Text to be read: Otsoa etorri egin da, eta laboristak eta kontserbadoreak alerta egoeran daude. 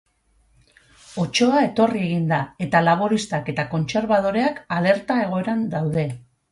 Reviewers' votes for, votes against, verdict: 4, 0, accepted